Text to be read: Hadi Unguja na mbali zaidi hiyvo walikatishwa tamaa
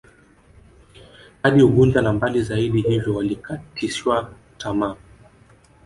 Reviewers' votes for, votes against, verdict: 1, 2, rejected